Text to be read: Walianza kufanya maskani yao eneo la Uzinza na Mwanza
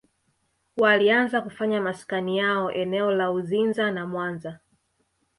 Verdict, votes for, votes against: accepted, 2, 0